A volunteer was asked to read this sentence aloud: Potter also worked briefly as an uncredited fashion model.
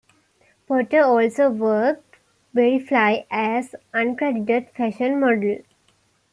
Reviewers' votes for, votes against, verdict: 0, 2, rejected